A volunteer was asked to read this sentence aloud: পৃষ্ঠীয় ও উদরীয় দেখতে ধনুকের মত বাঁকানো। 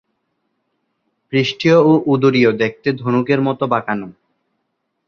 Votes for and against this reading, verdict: 2, 0, accepted